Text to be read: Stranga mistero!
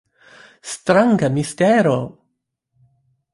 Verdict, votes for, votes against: accepted, 2, 0